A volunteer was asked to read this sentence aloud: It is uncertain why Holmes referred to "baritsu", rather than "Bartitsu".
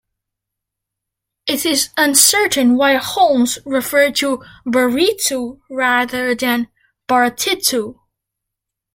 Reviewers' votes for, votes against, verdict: 2, 0, accepted